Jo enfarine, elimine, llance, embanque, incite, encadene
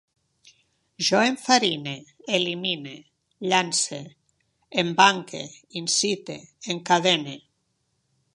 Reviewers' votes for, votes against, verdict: 2, 0, accepted